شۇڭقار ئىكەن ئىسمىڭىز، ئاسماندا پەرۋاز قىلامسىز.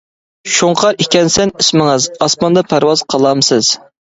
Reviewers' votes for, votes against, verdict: 0, 2, rejected